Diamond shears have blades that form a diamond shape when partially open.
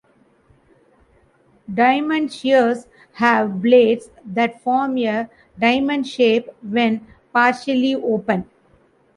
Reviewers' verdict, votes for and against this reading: accepted, 2, 0